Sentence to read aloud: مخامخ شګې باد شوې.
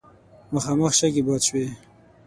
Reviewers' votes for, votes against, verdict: 6, 0, accepted